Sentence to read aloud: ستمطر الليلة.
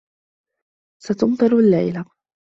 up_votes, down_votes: 0, 2